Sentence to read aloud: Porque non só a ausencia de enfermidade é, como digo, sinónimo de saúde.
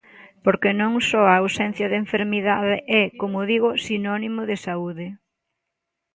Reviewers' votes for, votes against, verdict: 2, 0, accepted